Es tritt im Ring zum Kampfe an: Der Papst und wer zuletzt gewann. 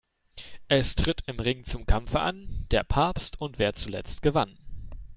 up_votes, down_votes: 2, 0